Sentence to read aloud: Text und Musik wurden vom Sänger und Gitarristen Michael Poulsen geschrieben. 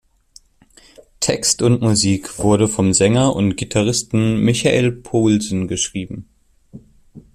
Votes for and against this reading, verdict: 0, 2, rejected